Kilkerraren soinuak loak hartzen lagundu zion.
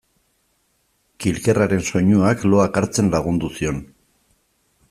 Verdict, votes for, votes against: accepted, 2, 1